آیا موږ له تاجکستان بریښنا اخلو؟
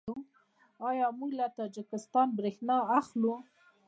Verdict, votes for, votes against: accepted, 2, 0